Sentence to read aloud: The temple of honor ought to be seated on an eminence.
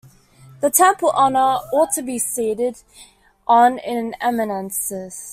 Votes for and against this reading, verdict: 1, 2, rejected